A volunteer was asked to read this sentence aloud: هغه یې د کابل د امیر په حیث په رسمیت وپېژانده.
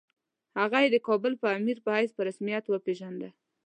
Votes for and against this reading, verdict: 2, 1, accepted